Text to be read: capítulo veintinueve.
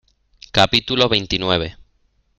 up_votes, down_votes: 2, 0